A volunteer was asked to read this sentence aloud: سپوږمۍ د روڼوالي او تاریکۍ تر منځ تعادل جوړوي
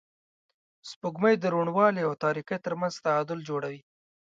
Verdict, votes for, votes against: accepted, 2, 0